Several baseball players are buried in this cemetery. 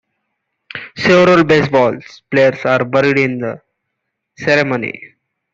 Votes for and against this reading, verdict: 0, 2, rejected